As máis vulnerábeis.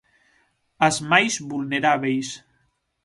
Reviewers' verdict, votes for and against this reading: accepted, 6, 0